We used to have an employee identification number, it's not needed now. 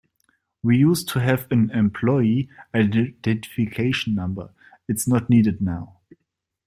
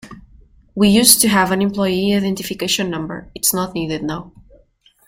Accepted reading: second